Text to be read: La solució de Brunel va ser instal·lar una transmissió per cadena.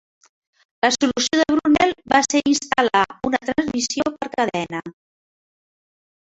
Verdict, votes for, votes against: rejected, 0, 2